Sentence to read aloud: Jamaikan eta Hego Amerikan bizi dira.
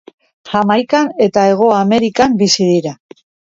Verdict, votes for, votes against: accepted, 2, 0